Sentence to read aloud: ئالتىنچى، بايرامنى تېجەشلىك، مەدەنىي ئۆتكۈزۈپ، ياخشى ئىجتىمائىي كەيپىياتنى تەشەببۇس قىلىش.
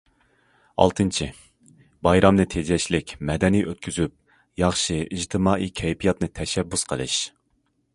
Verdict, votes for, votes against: accepted, 2, 0